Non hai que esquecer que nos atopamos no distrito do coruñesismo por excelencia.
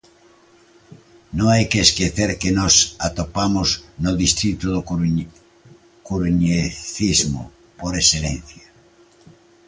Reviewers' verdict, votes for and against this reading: rejected, 0, 2